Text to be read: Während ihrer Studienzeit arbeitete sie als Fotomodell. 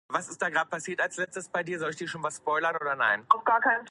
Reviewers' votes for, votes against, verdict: 0, 2, rejected